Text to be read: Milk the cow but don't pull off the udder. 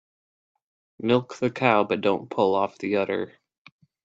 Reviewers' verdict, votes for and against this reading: accepted, 2, 0